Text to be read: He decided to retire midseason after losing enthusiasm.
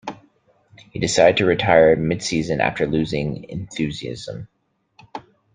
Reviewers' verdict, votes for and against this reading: accepted, 2, 1